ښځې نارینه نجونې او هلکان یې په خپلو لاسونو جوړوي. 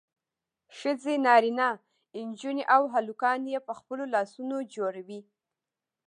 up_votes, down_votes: 2, 0